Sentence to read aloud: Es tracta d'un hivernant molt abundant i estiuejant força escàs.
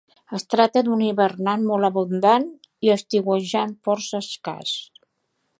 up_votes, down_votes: 3, 0